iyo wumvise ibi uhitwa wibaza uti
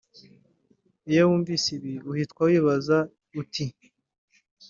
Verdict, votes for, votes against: accepted, 2, 0